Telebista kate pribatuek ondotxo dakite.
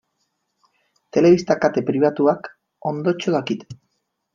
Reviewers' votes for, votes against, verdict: 0, 2, rejected